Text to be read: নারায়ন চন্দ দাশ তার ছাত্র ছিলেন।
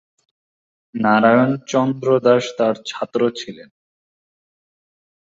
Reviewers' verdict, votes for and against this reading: rejected, 0, 2